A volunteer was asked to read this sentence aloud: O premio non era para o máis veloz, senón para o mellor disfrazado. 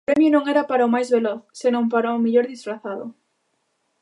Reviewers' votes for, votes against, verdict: 0, 2, rejected